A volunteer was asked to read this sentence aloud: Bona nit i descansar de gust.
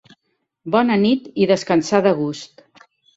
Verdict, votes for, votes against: accepted, 2, 0